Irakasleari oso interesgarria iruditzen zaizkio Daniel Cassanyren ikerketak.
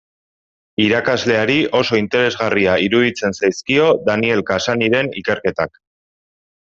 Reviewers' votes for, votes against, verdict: 2, 0, accepted